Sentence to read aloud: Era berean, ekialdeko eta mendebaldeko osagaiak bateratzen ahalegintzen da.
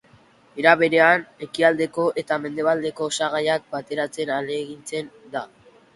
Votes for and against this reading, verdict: 2, 0, accepted